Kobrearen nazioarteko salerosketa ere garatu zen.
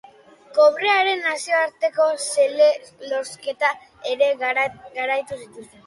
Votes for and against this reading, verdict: 0, 2, rejected